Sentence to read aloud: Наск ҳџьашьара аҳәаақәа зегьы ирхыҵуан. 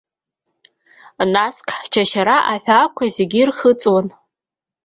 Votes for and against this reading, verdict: 2, 1, accepted